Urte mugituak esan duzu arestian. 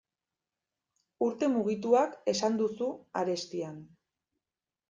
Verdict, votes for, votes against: accepted, 2, 0